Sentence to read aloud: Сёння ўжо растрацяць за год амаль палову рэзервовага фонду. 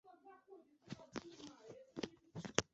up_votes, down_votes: 0, 2